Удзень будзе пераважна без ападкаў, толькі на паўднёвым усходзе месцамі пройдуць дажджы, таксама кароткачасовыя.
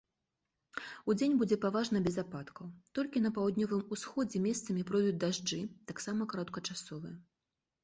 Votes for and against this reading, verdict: 0, 2, rejected